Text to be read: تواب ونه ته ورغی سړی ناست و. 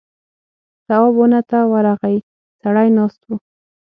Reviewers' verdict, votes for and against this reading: accepted, 6, 0